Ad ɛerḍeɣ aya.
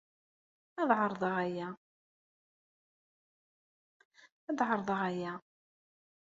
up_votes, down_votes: 1, 2